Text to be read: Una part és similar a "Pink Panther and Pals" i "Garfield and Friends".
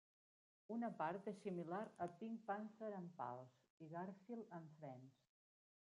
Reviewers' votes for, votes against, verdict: 0, 2, rejected